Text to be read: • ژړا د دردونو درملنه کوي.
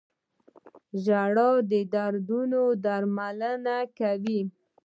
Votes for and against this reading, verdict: 2, 0, accepted